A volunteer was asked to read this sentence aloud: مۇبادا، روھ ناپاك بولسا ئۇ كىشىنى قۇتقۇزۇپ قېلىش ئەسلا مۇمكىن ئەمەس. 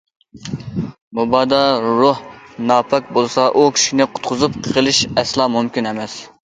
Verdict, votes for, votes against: accepted, 2, 0